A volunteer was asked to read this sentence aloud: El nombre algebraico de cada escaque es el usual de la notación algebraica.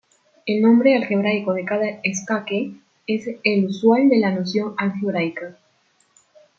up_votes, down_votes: 0, 2